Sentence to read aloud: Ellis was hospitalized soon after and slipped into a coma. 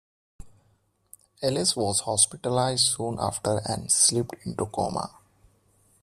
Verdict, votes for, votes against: rejected, 1, 2